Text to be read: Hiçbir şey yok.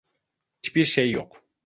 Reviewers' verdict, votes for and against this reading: accepted, 2, 0